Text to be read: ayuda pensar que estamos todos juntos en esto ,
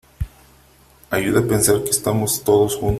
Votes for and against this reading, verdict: 0, 2, rejected